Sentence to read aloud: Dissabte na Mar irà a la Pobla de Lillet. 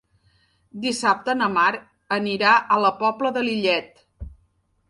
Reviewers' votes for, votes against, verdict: 0, 2, rejected